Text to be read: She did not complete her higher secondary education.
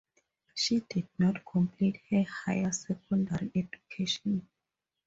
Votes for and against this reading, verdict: 2, 0, accepted